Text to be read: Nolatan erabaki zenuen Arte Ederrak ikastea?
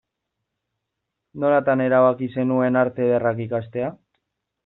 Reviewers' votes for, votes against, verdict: 2, 0, accepted